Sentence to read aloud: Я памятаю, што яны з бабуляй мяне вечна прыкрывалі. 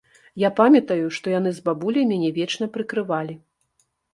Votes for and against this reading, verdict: 2, 0, accepted